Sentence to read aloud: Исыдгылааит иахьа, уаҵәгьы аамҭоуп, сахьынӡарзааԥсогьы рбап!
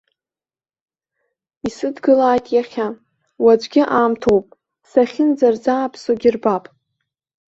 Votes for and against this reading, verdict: 2, 0, accepted